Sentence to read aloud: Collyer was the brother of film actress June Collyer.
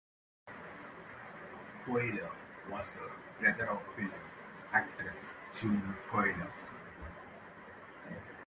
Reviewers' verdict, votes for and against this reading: rejected, 0, 2